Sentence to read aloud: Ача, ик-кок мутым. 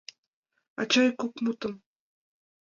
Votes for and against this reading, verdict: 2, 0, accepted